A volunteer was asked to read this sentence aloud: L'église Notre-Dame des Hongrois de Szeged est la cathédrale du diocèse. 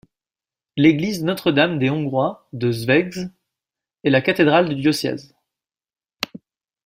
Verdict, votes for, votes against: accepted, 2, 0